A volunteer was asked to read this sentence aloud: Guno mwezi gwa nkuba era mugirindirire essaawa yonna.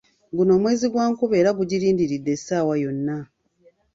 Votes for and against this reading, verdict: 2, 0, accepted